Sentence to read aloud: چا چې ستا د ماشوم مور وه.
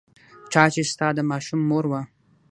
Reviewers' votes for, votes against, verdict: 6, 0, accepted